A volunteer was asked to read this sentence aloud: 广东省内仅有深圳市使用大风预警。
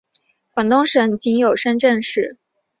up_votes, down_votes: 2, 1